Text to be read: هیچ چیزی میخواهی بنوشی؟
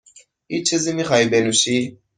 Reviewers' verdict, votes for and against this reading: accepted, 2, 0